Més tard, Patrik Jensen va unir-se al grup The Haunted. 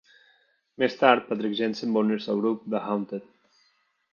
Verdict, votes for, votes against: accepted, 2, 1